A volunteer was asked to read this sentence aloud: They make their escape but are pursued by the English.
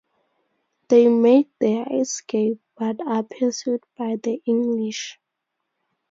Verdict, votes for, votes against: accepted, 4, 0